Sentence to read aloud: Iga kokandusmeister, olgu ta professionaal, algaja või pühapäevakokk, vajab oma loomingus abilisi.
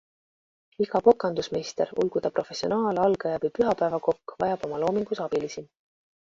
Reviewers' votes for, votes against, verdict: 2, 0, accepted